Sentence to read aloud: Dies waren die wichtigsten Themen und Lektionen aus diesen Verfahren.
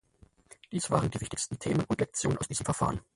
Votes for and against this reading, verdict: 0, 4, rejected